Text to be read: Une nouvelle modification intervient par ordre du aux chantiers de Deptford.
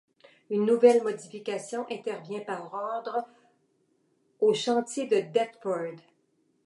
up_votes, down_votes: 1, 2